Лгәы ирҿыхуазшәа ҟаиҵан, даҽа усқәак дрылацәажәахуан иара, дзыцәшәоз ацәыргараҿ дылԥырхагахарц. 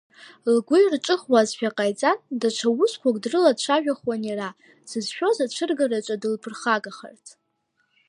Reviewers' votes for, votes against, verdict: 2, 1, accepted